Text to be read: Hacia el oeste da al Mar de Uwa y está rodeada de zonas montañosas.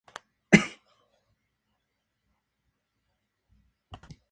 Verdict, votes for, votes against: rejected, 0, 2